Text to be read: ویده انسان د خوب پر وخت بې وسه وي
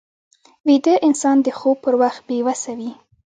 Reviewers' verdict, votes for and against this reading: rejected, 1, 2